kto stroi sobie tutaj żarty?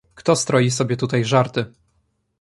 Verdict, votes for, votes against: rejected, 1, 2